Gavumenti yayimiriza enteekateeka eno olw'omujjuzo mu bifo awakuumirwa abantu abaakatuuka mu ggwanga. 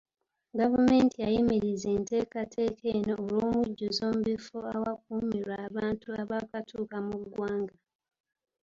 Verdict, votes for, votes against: rejected, 0, 2